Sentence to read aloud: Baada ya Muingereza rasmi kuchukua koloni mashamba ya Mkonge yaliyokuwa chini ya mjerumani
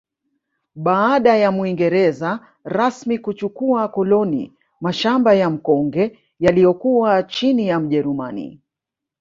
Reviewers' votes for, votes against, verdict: 1, 2, rejected